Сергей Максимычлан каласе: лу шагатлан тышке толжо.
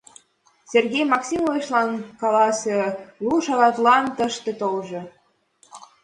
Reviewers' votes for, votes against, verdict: 2, 0, accepted